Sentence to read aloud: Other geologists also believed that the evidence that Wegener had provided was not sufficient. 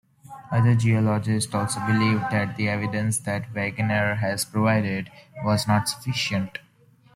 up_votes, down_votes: 0, 2